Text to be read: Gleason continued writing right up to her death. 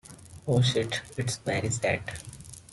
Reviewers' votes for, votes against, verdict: 0, 2, rejected